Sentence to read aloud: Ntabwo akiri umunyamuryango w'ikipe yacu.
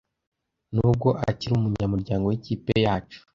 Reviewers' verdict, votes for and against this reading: rejected, 0, 2